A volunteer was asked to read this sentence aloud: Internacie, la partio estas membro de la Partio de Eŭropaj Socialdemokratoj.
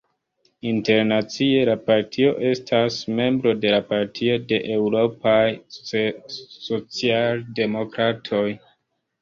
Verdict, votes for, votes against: rejected, 0, 3